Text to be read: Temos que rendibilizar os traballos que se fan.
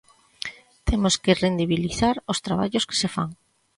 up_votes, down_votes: 2, 0